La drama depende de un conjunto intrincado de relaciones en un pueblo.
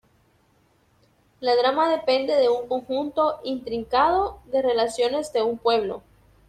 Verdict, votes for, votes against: rejected, 0, 2